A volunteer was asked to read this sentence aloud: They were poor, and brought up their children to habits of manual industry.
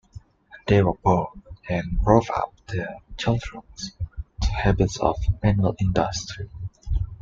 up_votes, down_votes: 0, 2